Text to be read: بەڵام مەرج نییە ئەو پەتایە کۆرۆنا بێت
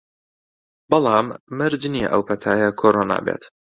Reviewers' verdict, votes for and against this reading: accepted, 3, 0